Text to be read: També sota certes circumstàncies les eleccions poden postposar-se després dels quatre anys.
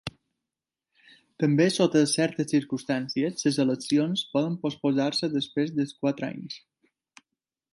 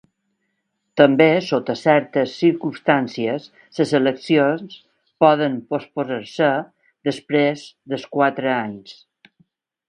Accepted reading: first